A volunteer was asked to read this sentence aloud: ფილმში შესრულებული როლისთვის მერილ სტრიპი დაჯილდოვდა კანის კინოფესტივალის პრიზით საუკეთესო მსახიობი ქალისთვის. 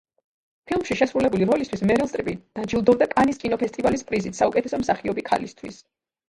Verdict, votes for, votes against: rejected, 1, 3